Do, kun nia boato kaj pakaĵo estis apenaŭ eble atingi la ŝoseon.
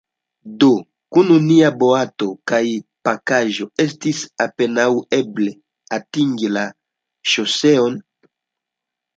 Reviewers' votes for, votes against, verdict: 0, 2, rejected